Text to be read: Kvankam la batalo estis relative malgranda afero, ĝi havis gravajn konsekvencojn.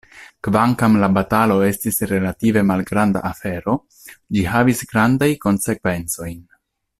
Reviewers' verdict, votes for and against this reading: rejected, 1, 2